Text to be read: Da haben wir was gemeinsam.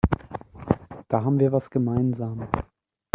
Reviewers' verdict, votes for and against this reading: rejected, 1, 2